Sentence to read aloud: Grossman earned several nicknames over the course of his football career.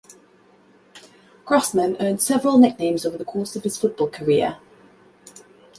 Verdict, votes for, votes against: accepted, 2, 0